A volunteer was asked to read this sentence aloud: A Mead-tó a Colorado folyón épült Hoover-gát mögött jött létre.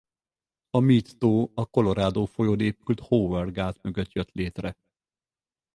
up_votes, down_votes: 4, 0